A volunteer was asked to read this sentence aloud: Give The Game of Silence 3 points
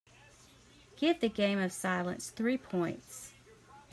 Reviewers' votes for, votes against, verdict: 0, 2, rejected